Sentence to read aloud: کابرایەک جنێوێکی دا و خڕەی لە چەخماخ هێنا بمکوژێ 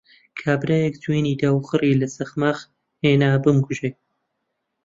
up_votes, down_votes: 0, 2